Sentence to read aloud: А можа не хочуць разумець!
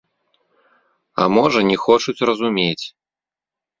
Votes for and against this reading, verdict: 2, 0, accepted